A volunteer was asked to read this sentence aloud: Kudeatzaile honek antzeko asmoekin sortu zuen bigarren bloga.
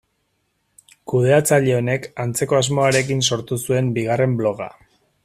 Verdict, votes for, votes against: accepted, 2, 1